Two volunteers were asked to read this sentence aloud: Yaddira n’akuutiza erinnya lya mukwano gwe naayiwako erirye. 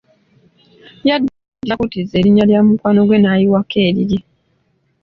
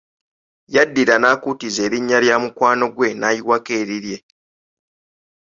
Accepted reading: second